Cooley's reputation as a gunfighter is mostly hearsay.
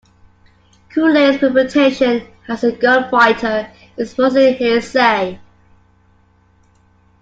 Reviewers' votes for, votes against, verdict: 2, 1, accepted